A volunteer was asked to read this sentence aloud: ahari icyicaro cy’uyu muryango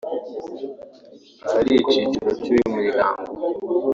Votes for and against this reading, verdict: 1, 2, rejected